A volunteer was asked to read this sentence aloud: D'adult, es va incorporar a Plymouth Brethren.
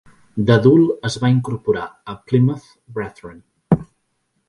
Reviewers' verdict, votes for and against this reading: accepted, 4, 0